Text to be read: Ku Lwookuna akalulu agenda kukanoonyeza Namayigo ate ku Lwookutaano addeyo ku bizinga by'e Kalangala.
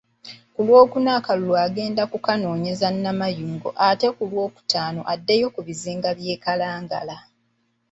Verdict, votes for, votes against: accepted, 2, 1